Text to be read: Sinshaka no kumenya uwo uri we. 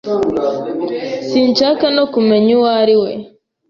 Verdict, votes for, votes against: rejected, 1, 2